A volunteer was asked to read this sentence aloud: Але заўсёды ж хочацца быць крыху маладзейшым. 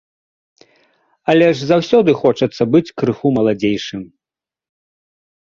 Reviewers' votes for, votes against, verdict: 1, 2, rejected